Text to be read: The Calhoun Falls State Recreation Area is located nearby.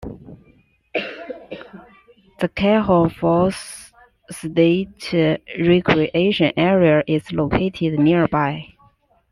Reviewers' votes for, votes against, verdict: 2, 1, accepted